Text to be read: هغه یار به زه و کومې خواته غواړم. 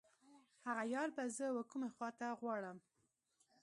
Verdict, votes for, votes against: accepted, 2, 0